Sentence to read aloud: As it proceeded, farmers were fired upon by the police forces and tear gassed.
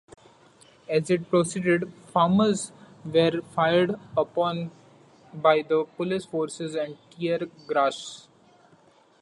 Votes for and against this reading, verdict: 2, 0, accepted